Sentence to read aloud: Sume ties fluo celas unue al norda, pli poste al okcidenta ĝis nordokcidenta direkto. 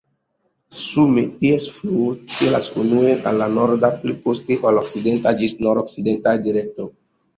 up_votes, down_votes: 3, 0